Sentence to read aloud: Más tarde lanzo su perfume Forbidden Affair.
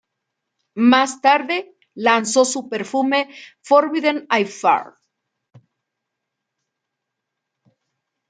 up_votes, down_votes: 0, 2